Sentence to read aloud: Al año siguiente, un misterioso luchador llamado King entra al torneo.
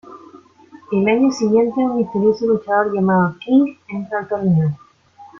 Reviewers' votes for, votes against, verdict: 2, 1, accepted